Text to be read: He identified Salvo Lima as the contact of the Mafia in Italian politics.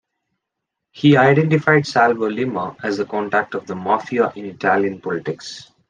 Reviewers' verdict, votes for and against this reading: accepted, 2, 0